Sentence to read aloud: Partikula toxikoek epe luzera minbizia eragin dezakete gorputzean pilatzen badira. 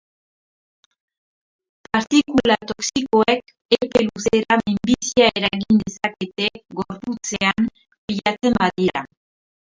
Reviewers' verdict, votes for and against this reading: rejected, 0, 2